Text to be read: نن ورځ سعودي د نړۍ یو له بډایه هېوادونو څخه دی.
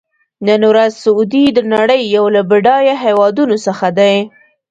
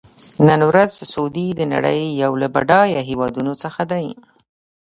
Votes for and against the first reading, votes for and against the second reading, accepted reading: 2, 1, 1, 2, first